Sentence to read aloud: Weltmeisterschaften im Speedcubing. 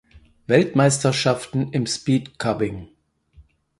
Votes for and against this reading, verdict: 2, 4, rejected